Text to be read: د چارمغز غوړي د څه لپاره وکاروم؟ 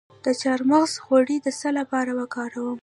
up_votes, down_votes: 0, 2